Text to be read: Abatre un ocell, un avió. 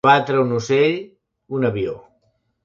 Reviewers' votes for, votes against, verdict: 1, 3, rejected